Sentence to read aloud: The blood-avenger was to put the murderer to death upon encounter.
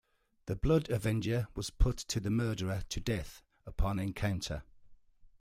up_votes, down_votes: 1, 2